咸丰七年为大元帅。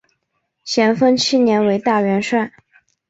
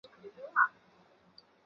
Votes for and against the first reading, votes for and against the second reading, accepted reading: 5, 0, 0, 2, first